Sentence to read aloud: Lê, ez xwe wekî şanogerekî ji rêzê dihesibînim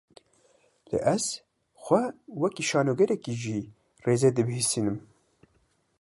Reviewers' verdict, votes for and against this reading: rejected, 1, 2